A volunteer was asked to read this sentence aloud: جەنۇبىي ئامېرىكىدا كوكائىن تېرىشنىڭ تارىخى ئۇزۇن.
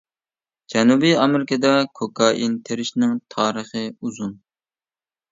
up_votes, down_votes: 1, 2